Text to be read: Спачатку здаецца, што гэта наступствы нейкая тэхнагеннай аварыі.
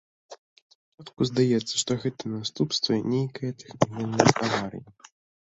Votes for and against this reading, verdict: 0, 2, rejected